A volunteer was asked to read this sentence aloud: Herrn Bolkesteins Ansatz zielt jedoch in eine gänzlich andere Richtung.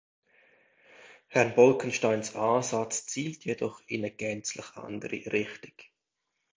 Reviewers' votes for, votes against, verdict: 1, 2, rejected